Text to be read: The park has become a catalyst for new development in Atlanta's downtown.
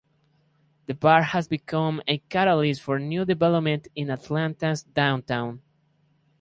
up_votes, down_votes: 0, 2